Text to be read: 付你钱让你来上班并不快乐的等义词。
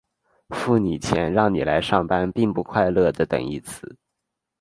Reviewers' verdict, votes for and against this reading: accepted, 5, 0